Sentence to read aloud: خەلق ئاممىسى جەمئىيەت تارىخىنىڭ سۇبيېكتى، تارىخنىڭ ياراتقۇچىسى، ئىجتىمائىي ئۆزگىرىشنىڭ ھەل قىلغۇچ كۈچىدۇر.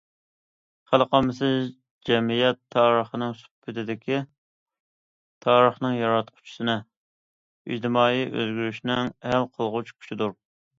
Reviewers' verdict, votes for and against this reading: rejected, 1, 2